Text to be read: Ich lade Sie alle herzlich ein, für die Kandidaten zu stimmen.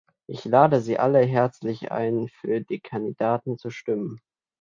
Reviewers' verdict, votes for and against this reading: accepted, 2, 0